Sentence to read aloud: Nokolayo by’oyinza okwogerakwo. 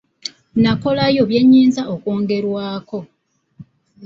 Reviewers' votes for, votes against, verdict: 0, 2, rejected